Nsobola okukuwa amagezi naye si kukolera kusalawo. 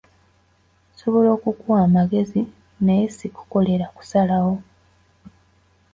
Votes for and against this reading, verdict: 2, 1, accepted